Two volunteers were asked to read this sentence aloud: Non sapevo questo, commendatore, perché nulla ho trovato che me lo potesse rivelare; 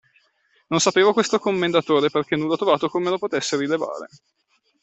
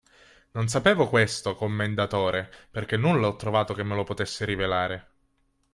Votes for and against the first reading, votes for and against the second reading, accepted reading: 1, 2, 2, 0, second